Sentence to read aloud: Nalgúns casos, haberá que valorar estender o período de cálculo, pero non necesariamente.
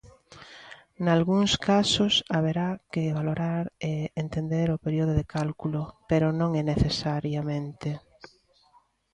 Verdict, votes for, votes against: rejected, 0, 2